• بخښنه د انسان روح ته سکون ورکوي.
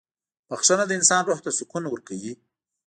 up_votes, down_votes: 2, 0